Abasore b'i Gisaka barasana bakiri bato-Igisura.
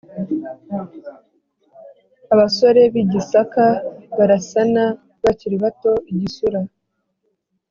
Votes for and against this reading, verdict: 4, 0, accepted